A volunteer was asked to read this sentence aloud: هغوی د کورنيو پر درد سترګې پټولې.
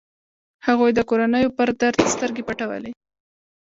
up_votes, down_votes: 0, 2